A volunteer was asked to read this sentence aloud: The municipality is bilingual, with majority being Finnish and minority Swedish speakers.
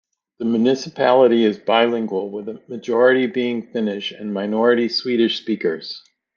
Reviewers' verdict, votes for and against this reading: accepted, 2, 0